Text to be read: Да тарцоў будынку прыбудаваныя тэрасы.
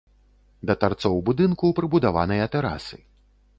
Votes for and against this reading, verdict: 2, 0, accepted